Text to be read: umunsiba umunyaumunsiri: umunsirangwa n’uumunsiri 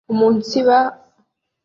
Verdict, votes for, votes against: rejected, 0, 2